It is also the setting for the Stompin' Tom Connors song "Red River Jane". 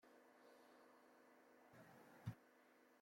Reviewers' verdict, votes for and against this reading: rejected, 0, 2